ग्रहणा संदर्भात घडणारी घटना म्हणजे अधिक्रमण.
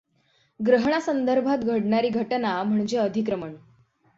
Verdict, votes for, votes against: accepted, 6, 0